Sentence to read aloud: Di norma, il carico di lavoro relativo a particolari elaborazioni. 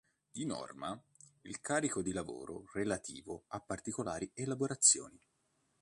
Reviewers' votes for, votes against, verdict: 3, 0, accepted